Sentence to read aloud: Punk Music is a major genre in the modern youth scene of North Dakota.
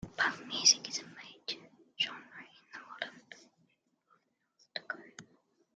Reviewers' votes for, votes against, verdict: 0, 2, rejected